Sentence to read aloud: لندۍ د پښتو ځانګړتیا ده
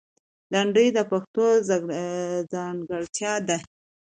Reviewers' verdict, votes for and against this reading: accepted, 2, 0